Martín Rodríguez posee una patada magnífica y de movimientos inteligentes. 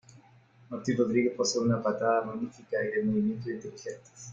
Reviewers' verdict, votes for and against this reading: rejected, 1, 2